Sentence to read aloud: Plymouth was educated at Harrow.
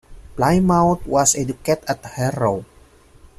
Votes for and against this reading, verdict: 0, 2, rejected